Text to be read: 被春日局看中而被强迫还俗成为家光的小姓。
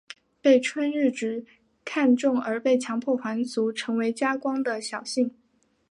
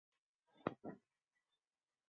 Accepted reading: first